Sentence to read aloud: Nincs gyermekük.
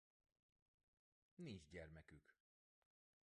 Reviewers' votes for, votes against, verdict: 0, 2, rejected